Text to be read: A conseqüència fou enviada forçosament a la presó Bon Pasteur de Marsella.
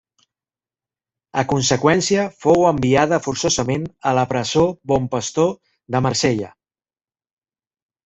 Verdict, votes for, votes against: rejected, 0, 2